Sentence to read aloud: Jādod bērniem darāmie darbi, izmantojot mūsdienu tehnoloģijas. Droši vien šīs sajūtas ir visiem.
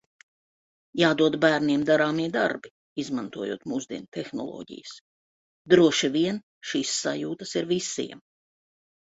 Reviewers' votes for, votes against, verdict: 3, 0, accepted